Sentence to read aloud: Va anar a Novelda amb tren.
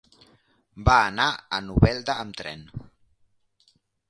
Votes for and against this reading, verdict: 2, 0, accepted